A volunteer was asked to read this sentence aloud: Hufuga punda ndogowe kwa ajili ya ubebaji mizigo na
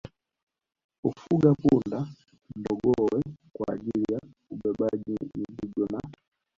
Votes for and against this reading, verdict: 1, 2, rejected